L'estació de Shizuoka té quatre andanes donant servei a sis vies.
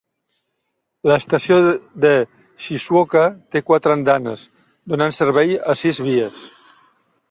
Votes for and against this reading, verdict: 1, 2, rejected